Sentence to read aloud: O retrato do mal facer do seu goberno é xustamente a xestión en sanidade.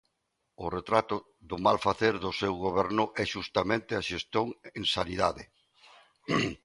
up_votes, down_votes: 2, 0